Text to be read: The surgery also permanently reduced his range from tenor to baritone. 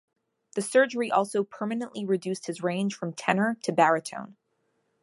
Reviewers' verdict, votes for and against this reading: accepted, 2, 0